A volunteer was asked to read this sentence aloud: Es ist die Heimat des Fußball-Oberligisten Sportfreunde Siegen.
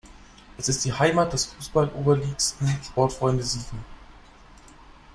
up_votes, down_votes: 0, 2